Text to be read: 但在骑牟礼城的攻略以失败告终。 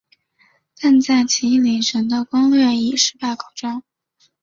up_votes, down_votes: 2, 0